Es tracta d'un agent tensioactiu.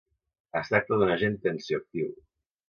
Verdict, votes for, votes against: accepted, 2, 0